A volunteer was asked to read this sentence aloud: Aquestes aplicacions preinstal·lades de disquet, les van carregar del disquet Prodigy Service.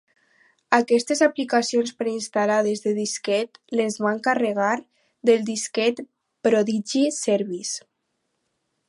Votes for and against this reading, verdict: 4, 0, accepted